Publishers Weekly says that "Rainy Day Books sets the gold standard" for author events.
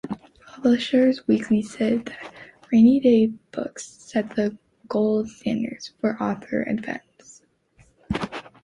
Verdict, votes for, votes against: accepted, 2, 1